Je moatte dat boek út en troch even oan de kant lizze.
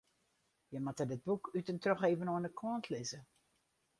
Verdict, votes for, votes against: accepted, 4, 0